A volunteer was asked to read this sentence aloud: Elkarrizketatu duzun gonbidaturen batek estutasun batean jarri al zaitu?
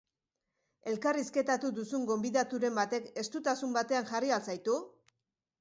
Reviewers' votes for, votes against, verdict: 3, 0, accepted